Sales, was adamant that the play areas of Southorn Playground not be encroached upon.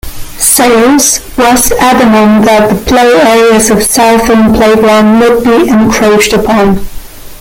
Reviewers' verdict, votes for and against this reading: rejected, 1, 2